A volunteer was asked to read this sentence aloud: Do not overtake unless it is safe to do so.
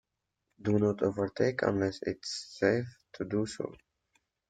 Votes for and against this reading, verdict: 0, 2, rejected